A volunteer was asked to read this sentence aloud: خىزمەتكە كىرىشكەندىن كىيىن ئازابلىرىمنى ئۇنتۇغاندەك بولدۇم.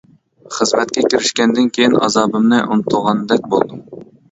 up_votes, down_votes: 0, 2